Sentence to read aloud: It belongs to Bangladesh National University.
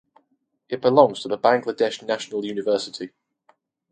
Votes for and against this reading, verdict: 2, 0, accepted